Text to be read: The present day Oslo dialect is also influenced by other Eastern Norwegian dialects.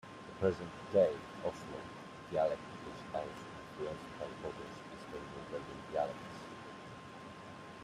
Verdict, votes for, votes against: rejected, 0, 2